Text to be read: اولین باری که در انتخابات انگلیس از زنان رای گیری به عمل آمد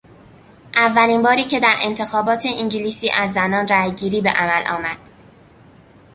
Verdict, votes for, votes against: rejected, 0, 2